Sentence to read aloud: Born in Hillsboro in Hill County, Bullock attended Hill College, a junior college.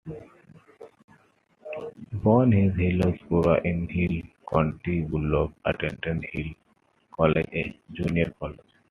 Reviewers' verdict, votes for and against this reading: rejected, 1, 2